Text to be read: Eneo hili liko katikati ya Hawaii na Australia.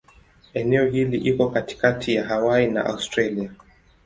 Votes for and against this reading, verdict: 2, 0, accepted